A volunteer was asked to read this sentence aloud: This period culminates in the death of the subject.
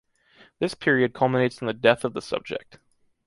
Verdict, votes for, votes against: accepted, 2, 1